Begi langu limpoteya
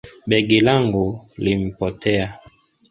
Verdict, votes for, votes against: accepted, 2, 1